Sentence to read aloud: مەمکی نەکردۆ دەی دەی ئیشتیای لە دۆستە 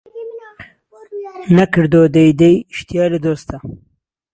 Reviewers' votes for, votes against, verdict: 0, 2, rejected